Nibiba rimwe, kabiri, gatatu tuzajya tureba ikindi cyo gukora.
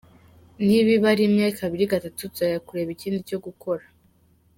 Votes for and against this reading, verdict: 2, 0, accepted